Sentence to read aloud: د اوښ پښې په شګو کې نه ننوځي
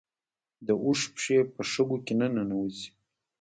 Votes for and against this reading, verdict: 2, 0, accepted